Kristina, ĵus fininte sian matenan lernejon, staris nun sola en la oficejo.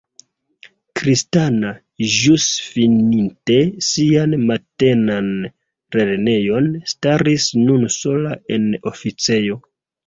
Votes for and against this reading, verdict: 0, 2, rejected